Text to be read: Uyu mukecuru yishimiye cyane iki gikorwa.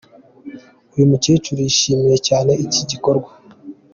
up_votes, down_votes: 2, 0